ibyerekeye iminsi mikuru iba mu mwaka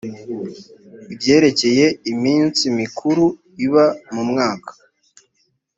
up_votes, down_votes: 2, 0